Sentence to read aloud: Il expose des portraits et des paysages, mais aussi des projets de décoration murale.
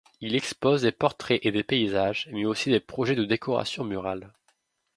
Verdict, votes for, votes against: accepted, 2, 0